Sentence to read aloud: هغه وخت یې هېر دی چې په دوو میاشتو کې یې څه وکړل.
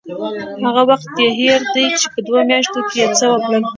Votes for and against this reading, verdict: 0, 2, rejected